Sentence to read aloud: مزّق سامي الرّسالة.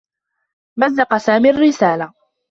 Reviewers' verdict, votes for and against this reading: accepted, 2, 0